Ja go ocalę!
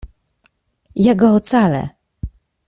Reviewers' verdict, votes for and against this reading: accepted, 2, 0